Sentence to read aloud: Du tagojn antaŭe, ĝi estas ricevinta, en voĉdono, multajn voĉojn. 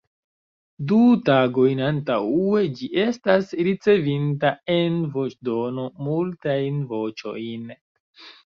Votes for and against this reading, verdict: 1, 2, rejected